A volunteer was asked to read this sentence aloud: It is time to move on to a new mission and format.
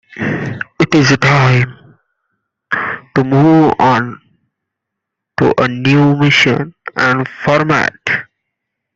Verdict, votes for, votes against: rejected, 0, 2